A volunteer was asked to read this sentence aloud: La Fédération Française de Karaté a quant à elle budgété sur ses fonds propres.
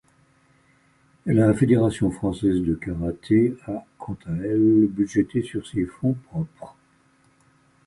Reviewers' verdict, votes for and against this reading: accepted, 2, 1